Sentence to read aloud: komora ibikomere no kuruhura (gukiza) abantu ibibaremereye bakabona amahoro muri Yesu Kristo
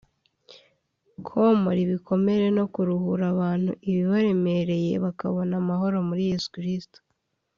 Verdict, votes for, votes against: accepted, 2, 0